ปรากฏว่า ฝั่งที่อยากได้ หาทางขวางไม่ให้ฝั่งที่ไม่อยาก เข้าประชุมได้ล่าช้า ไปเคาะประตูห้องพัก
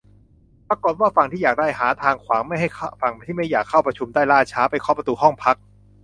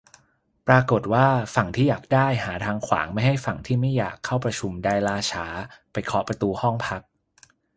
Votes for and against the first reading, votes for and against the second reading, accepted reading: 0, 2, 4, 0, second